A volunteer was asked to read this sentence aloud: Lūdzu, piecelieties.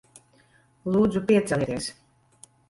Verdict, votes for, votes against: rejected, 0, 2